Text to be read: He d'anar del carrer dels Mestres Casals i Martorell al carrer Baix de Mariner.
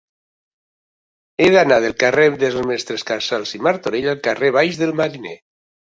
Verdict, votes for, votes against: rejected, 1, 2